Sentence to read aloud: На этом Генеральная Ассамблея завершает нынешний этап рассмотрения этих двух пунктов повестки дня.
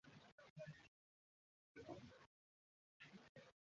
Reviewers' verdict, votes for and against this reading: rejected, 0, 2